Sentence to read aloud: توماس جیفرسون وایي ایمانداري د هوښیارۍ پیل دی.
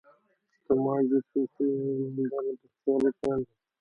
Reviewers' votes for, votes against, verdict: 0, 2, rejected